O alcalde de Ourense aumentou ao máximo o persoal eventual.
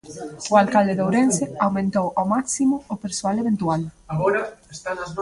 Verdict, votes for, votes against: accepted, 2, 1